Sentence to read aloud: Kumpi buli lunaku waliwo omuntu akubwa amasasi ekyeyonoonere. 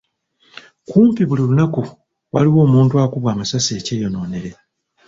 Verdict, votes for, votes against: accepted, 2, 0